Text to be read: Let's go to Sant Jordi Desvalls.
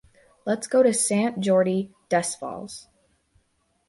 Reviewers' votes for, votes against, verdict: 2, 0, accepted